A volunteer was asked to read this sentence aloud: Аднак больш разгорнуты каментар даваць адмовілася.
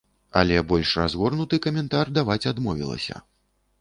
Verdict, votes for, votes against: rejected, 1, 2